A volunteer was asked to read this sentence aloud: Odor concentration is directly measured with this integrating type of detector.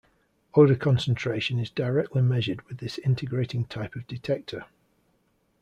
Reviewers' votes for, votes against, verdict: 2, 0, accepted